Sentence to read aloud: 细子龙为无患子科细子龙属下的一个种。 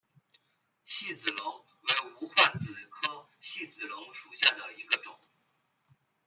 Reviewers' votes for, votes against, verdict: 0, 2, rejected